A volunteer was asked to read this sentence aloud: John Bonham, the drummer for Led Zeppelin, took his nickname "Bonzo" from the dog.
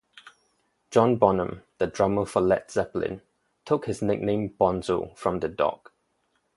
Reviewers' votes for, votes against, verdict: 4, 0, accepted